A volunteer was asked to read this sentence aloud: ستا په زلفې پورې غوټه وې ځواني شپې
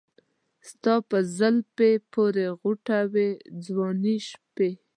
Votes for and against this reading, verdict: 2, 0, accepted